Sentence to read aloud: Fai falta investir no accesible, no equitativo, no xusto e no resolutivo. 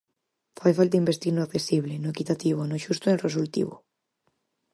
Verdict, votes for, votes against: rejected, 2, 4